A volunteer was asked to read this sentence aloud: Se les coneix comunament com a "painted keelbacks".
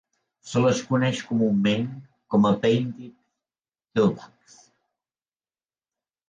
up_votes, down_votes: 2, 0